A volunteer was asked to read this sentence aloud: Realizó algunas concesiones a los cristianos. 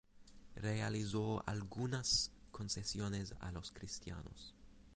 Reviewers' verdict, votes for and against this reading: rejected, 0, 4